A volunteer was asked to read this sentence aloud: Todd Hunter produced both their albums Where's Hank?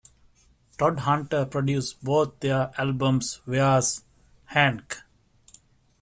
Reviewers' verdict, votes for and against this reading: rejected, 1, 2